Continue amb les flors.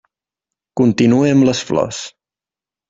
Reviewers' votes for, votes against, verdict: 3, 0, accepted